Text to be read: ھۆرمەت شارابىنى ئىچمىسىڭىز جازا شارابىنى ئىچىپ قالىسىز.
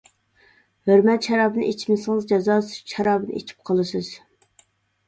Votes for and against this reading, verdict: 1, 2, rejected